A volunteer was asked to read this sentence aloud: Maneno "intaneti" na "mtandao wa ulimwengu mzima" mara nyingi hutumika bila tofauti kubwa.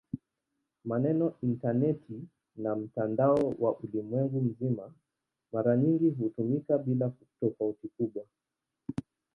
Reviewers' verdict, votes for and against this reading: accepted, 2, 0